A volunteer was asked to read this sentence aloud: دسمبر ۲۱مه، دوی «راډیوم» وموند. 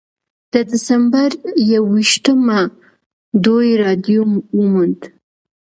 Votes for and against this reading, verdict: 0, 2, rejected